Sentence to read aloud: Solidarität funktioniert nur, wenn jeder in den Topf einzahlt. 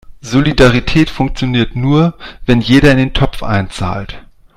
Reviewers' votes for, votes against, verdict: 2, 0, accepted